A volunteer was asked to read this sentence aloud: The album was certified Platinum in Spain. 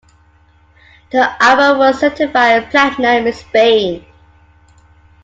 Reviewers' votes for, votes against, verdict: 2, 1, accepted